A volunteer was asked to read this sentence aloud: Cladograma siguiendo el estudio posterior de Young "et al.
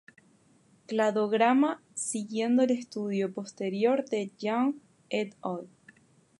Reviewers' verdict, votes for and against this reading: rejected, 0, 2